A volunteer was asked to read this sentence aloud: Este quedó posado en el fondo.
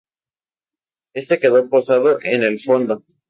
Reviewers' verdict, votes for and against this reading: accepted, 2, 0